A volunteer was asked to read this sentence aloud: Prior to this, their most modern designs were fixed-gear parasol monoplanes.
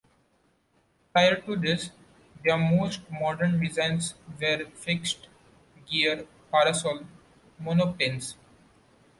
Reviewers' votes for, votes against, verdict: 2, 1, accepted